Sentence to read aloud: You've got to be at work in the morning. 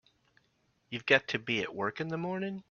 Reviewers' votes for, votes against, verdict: 3, 0, accepted